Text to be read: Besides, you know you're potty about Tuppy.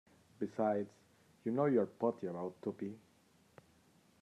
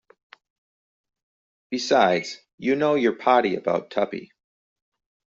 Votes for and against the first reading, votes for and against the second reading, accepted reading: 0, 2, 2, 0, second